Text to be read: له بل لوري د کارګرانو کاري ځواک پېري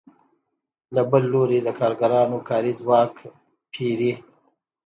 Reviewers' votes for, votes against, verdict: 2, 0, accepted